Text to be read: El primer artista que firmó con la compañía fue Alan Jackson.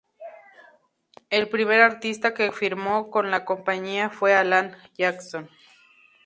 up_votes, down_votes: 2, 0